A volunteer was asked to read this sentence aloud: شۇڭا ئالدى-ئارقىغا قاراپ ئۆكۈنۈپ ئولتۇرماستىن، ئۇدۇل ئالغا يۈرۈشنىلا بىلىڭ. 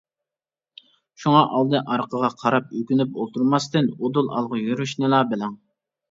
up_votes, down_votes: 2, 0